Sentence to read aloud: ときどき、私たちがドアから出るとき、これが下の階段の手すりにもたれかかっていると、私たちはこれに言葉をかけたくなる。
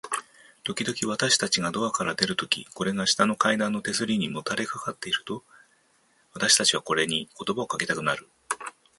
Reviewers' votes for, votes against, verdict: 2, 0, accepted